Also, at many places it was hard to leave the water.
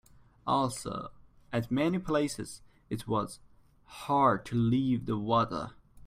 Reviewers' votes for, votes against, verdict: 2, 1, accepted